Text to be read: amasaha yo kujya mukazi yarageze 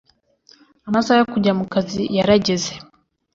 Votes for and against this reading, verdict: 2, 0, accepted